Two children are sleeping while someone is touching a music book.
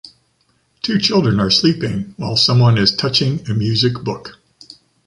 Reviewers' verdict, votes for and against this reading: accepted, 2, 0